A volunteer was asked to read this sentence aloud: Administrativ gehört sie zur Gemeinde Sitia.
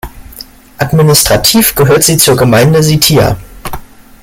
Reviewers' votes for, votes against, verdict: 2, 0, accepted